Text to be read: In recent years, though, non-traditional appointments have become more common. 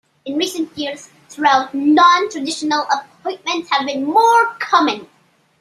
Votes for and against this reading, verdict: 0, 2, rejected